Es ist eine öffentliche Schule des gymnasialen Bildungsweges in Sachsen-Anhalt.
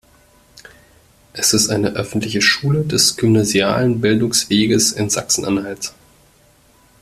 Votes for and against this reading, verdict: 2, 0, accepted